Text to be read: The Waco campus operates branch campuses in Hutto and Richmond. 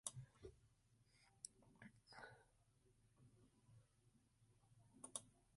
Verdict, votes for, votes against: rejected, 0, 2